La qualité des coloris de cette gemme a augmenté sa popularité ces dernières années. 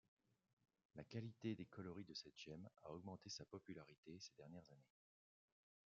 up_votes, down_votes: 0, 2